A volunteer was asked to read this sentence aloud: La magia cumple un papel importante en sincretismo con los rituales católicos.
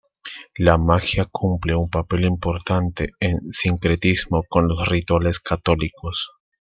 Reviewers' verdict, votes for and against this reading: rejected, 1, 2